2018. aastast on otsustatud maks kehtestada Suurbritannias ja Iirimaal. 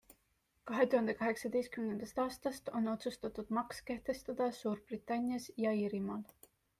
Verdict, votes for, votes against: rejected, 0, 2